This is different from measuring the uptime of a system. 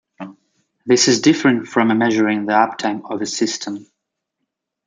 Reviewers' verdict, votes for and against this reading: rejected, 1, 2